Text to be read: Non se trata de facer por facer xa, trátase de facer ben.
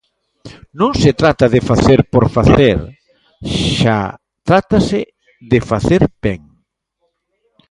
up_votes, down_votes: 2, 1